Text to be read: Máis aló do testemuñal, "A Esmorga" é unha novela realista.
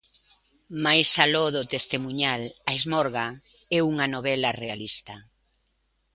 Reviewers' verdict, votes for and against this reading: accepted, 2, 0